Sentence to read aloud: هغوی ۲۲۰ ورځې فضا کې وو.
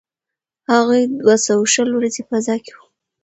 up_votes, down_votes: 0, 2